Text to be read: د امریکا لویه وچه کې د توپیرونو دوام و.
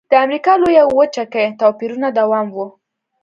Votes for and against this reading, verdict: 2, 0, accepted